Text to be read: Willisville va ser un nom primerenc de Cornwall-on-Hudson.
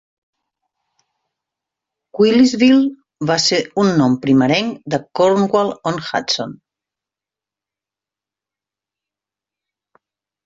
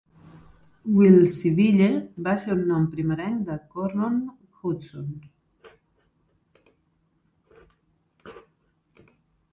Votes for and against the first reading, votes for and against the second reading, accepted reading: 3, 0, 1, 2, first